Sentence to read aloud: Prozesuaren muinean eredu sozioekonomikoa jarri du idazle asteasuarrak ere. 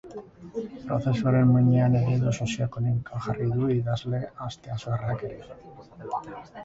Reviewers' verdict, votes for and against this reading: accepted, 4, 2